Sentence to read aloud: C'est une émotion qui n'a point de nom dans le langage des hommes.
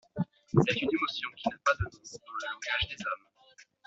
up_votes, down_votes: 2, 0